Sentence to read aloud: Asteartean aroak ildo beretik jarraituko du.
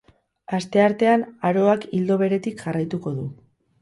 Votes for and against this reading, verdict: 2, 0, accepted